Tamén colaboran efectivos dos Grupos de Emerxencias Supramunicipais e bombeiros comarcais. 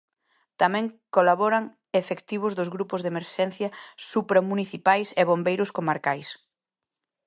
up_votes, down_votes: 1, 2